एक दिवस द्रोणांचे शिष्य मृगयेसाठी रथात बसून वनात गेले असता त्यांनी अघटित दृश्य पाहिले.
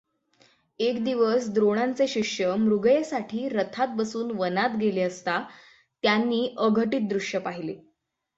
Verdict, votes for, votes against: accepted, 6, 0